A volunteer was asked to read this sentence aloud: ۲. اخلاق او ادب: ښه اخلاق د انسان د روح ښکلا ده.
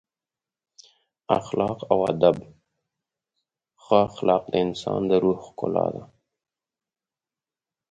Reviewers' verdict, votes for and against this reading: rejected, 0, 2